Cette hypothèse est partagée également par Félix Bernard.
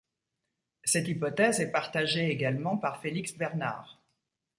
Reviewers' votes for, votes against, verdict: 2, 0, accepted